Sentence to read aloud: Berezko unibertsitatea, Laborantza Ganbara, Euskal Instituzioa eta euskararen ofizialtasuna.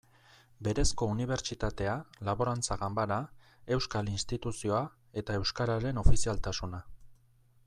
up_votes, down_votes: 2, 0